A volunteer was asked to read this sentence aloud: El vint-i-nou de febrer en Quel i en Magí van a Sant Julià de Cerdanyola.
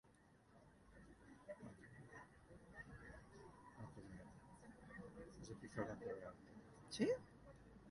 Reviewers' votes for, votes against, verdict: 0, 2, rejected